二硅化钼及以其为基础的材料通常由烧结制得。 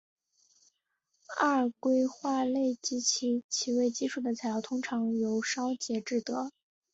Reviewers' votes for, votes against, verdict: 2, 0, accepted